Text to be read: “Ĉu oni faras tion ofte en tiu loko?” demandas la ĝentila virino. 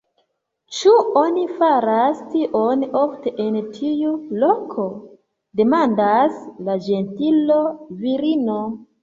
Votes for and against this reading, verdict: 0, 2, rejected